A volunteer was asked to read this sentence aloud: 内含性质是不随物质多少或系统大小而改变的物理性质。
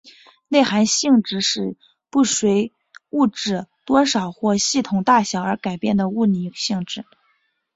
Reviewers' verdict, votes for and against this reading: accepted, 2, 0